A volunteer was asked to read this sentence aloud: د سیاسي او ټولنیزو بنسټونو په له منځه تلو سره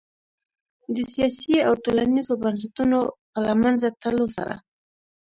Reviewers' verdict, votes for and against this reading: rejected, 0, 2